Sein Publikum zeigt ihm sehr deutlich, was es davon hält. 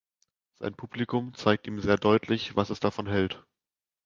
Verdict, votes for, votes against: accepted, 2, 0